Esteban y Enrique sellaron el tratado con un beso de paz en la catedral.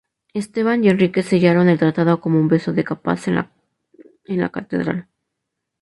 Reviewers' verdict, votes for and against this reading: rejected, 0, 2